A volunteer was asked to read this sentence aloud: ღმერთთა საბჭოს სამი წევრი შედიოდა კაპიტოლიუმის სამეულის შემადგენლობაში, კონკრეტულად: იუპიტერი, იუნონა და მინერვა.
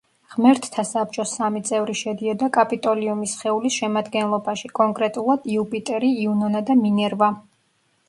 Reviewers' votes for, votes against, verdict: 0, 2, rejected